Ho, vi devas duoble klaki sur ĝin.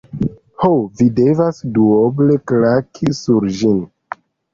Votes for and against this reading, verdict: 2, 0, accepted